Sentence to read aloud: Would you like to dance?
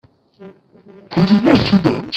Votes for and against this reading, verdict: 0, 2, rejected